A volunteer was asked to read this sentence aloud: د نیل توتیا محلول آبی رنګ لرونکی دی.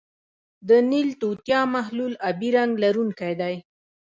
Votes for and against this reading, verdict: 1, 2, rejected